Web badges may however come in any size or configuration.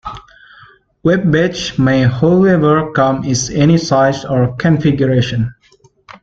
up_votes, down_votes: 0, 2